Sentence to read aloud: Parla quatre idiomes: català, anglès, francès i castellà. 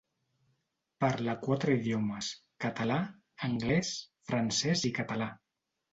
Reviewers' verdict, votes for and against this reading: rejected, 0, 2